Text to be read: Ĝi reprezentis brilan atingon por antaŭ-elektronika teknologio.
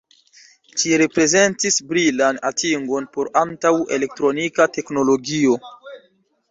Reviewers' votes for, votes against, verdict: 2, 1, accepted